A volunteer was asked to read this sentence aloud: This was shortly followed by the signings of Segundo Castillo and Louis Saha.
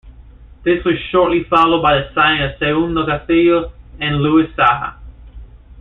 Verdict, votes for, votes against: rejected, 1, 2